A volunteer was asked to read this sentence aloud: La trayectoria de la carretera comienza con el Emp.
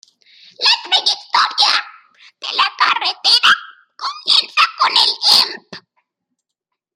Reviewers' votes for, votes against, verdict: 1, 2, rejected